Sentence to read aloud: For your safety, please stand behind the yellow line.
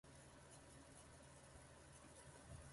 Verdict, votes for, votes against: rejected, 1, 2